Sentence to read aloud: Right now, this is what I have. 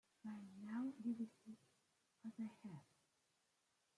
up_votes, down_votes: 1, 2